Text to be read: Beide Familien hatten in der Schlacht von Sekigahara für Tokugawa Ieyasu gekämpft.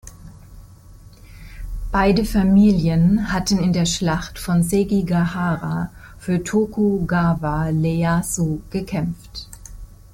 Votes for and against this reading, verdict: 2, 0, accepted